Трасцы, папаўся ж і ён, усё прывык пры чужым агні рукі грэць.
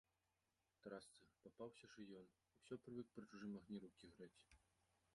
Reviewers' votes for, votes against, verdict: 1, 2, rejected